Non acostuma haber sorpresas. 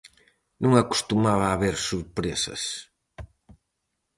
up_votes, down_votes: 0, 4